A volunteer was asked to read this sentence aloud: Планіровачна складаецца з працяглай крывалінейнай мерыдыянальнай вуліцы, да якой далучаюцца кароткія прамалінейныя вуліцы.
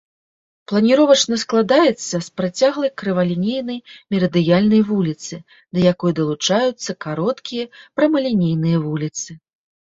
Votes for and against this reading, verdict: 1, 2, rejected